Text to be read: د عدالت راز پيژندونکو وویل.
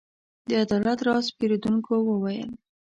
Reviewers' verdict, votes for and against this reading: rejected, 0, 2